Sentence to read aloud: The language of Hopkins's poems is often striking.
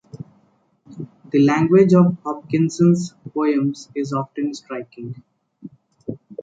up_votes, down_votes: 1, 2